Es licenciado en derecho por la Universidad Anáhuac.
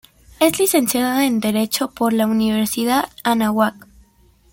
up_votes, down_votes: 2, 0